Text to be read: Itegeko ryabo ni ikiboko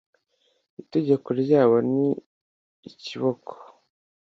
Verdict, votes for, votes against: accepted, 2, 0